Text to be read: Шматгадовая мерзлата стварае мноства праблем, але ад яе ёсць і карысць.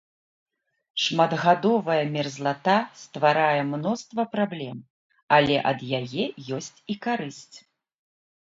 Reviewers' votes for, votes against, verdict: 2, 0, accepted